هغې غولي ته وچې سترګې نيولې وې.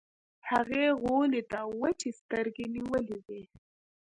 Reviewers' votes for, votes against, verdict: 3, 0, accepted